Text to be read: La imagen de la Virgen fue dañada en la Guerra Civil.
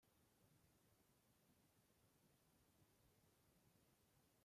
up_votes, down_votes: 0, 2